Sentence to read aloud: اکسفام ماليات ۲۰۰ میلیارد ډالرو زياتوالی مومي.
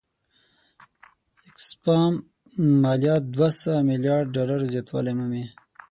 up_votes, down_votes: 0, 2